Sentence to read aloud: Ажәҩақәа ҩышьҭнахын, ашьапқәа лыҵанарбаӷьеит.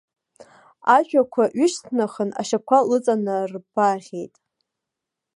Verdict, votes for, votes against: rejected, 0, 2